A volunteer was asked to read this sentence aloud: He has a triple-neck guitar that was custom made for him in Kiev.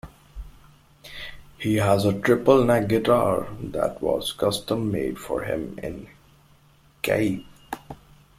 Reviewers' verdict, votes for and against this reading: rejected, 0, 2